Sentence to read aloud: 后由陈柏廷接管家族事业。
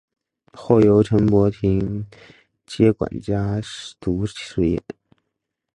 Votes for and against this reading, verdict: 2, 1, accepted